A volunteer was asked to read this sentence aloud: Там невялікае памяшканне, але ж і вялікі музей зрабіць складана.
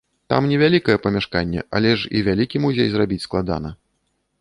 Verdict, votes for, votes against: accepted, 2, 0